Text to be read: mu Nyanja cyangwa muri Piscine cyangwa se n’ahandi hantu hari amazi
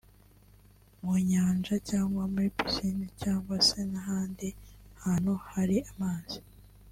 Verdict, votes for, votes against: accepted, 2, 0